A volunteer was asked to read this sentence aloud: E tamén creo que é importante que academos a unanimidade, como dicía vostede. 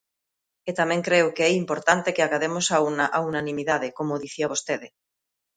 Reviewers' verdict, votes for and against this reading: rejected, 0, 2